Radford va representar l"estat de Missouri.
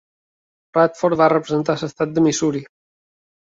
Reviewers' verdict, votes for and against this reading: rejected, 1, 2